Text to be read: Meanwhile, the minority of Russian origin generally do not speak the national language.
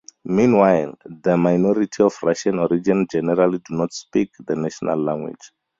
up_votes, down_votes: 4, 0